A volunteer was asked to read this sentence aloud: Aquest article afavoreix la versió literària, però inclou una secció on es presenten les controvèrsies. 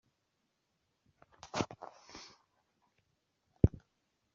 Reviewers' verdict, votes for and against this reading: rejected, 0, 2